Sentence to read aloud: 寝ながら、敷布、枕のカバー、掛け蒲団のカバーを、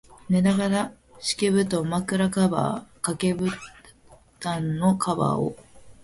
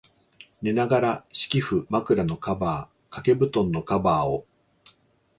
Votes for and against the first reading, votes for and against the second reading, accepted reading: 0, 2, 2, 0, second